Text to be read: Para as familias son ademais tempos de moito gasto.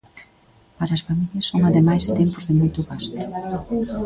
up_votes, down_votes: 2, 0